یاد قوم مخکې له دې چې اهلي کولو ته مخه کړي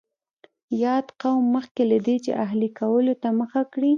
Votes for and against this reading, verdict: 2, 0, accepted